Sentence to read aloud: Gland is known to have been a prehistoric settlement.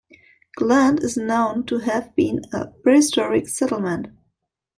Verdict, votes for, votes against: accepted, 2, 0